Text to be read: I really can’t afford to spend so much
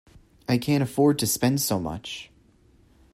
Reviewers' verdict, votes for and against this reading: rejected, 0, 2